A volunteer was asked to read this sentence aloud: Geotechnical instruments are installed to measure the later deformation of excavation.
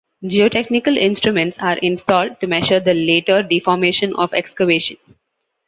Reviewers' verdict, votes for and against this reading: accepted, 2, 0